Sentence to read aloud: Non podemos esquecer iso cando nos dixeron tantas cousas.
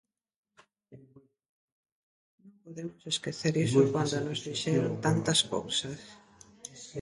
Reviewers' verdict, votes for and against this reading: rejected, 0, 2